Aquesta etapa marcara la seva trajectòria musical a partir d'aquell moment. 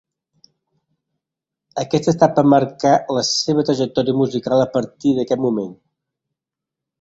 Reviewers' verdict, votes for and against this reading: rejected, 0, 2